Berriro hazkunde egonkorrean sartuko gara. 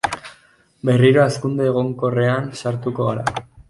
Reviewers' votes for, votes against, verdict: 4, 0, accepted